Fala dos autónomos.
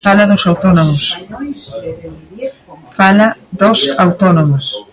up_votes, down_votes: 0, 2